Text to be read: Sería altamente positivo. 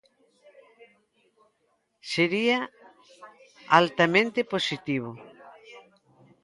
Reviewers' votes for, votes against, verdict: 2, 0, accepted